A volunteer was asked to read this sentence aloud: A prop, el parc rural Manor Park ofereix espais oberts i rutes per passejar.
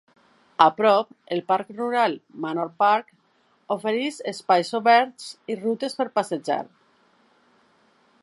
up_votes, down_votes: 2, 0